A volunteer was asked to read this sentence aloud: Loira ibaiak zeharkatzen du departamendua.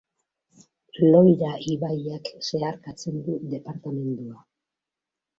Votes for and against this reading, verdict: 2, 0, accepted